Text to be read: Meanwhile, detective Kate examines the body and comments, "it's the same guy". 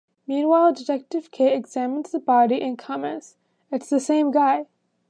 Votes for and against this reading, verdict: 2, 0, accepted